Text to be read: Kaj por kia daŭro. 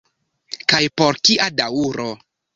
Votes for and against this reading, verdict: 1, 2, rejected